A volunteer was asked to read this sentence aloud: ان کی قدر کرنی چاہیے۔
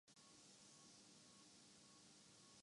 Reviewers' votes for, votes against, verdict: 0, 3, rejected